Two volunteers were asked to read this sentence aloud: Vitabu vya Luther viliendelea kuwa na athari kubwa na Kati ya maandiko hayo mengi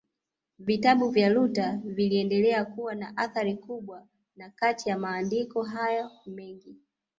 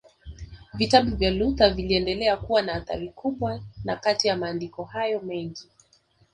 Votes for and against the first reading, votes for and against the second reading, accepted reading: 0, 2, 2, 0, second